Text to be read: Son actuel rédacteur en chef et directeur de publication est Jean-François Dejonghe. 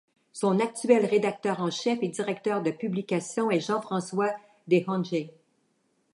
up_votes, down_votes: 2, 1